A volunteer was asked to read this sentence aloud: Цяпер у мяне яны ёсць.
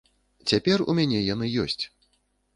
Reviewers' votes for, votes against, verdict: 2, 0, accepted